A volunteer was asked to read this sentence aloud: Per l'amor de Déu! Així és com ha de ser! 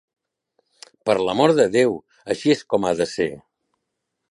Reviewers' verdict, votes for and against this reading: accepted, 3, 0